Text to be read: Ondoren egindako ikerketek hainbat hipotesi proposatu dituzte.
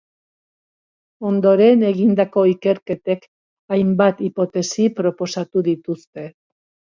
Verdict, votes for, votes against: accepted, 2, 0